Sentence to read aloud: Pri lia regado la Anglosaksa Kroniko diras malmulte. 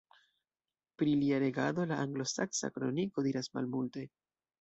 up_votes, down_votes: 2, 0